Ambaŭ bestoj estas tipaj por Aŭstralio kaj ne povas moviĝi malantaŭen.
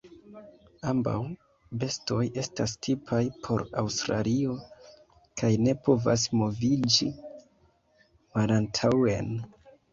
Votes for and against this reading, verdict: 1, 2, rejected